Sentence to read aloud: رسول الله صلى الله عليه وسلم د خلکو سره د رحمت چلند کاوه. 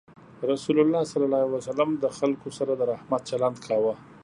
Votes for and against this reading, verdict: 2, 0, accepted